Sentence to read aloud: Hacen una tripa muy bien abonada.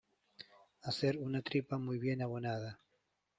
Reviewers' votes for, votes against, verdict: 0, 2, rejected